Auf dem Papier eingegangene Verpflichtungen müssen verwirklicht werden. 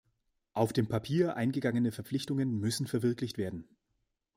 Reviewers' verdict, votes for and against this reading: accepted, 2, 0